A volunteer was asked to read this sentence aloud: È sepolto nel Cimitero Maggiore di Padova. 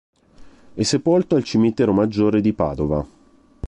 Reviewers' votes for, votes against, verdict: 0, 2, rejected